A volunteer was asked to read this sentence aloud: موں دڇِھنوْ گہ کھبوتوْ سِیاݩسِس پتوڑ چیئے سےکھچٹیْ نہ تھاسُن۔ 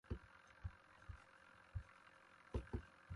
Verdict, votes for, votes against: rejected, 0, 2